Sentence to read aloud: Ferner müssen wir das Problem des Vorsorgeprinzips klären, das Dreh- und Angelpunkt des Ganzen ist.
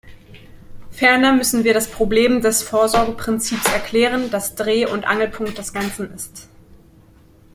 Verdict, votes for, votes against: rejected, 0, 2